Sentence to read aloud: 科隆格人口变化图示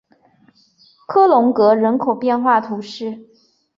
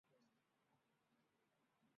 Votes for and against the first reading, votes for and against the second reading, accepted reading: 4, 0, 1, 2, first